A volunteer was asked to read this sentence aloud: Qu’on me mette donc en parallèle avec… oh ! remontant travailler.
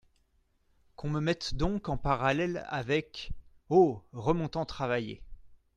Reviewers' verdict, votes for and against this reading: accepted, 2, 0